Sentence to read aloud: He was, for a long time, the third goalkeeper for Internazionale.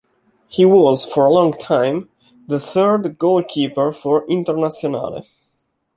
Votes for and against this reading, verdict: 2, 0, accepted